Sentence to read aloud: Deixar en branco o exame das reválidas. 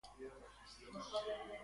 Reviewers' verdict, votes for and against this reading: rejected, 0, 2